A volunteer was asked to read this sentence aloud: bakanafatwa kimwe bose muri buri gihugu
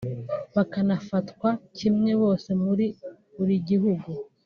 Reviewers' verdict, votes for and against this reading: rejected, 1, 2